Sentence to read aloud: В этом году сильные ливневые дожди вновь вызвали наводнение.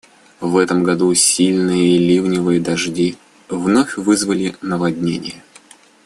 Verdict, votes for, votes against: accepted, 2, 0